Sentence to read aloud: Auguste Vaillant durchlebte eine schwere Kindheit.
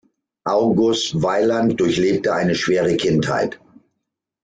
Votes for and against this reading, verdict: 0, 2, rejected